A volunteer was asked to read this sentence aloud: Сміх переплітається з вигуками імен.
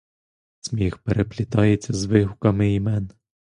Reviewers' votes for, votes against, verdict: 2, 0, accepted